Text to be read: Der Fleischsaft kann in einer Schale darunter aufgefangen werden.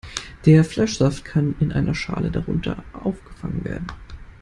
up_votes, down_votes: 2, 0